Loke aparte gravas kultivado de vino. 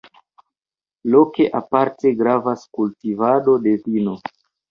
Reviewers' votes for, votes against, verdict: 1, 2, rejected